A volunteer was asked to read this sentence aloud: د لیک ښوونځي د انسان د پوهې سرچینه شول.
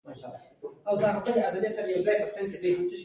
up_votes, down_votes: 2, 0